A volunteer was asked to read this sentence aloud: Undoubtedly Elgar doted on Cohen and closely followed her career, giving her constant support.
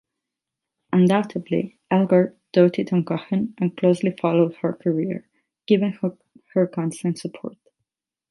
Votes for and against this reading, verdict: 4, 4, rejected